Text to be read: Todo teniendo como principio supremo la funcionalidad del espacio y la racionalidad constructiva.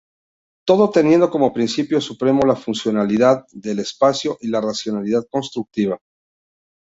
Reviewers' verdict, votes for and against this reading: accepted, 3, 0